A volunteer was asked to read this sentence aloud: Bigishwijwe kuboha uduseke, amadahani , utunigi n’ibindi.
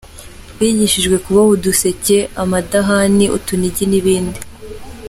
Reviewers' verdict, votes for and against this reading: accepted, 2, 0